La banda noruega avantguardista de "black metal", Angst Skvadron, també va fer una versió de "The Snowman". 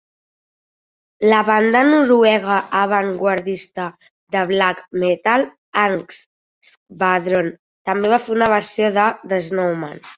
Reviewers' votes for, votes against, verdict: 2, 1, accepted